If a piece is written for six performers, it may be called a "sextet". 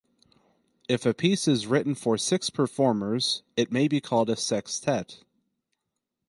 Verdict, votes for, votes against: accepted, 4, 0